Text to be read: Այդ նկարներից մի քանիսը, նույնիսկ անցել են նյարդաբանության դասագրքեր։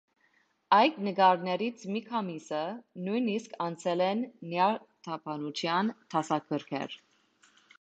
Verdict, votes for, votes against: accepted, 2, 1